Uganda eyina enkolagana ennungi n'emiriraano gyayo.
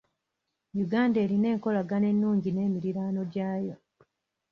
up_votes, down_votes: 1, 2